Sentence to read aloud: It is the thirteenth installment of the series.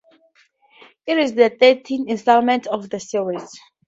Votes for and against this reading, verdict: 0, 2, rejected